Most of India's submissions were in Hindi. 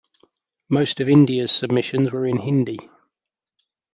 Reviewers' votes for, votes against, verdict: 2, 0, accepted